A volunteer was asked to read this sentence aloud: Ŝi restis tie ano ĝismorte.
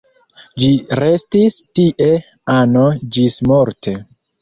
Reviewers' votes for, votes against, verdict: 1, 2, rejected